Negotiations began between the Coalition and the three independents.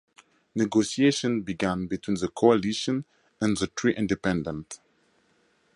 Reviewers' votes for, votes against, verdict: 4, 0, accepted